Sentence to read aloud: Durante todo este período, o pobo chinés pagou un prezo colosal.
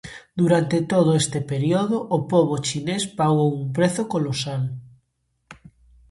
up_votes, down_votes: 0, 2